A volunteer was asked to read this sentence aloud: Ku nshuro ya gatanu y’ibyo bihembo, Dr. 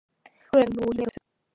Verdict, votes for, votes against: rejected, 0, 2